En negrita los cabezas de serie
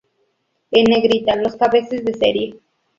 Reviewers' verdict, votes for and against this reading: rejected, 0, 2